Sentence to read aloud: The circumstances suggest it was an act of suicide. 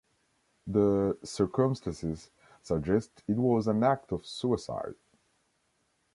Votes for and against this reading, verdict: 1, 2, rejected